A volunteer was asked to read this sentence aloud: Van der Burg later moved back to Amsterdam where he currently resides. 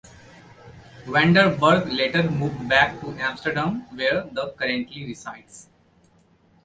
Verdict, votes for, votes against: rejected, 1, 2